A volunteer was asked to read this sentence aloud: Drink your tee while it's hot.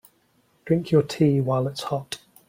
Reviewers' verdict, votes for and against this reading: accepted, 2, 0